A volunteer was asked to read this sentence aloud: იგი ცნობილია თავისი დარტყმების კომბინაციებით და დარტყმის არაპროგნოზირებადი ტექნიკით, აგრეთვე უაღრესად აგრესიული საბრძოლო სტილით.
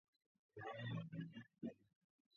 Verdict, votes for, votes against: rejected, 0, 2